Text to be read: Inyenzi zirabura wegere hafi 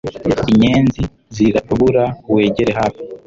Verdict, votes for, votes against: accepted, 2, 0